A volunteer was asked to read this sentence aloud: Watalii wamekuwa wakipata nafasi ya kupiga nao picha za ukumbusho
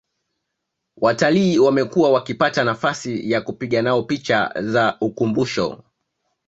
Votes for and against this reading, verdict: 2, 1, accepted